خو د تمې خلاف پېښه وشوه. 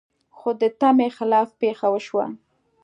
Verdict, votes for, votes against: accepted, 2, 0